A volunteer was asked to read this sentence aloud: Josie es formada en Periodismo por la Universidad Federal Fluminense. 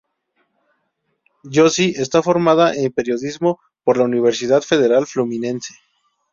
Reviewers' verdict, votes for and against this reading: rejected, 0, 2